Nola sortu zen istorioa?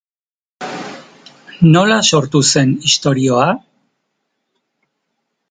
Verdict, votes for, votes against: accepted, 2, 0